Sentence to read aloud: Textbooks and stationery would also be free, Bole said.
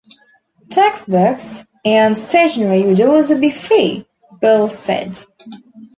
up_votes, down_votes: 2, 0